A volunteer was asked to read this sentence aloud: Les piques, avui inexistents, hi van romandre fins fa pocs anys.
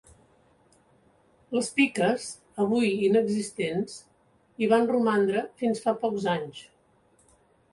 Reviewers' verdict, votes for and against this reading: accepted, 2, 0